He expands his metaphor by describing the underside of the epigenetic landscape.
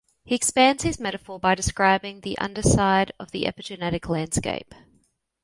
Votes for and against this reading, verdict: 2, 0, accepted